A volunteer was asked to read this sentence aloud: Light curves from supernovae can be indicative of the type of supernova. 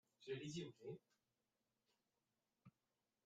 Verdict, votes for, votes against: rejected, 0, 3